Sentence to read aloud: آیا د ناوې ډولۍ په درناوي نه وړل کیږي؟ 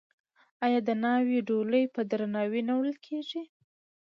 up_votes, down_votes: 2, 0